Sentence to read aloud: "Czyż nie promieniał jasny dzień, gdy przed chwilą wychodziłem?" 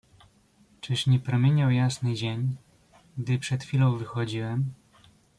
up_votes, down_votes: 2, 0